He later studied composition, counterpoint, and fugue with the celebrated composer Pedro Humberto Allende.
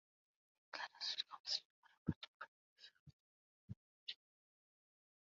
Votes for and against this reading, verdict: 0, 2, rejected